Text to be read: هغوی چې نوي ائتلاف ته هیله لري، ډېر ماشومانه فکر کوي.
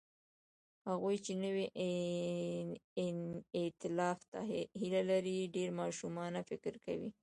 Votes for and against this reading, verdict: 2, 0, accepted